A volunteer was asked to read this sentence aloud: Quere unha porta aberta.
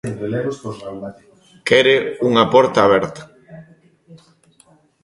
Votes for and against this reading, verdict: 0, 2, rejected